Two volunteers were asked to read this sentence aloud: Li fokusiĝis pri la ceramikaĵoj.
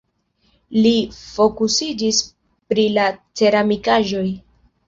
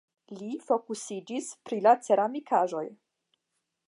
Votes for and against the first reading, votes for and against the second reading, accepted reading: 1, 2, 5, 0, second